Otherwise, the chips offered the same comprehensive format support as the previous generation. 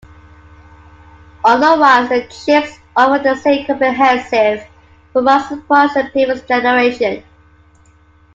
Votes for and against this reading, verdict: 0, 2, rejected